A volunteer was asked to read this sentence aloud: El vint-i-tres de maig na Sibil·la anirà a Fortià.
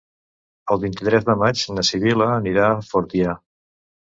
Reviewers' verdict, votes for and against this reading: accepted, 2, 0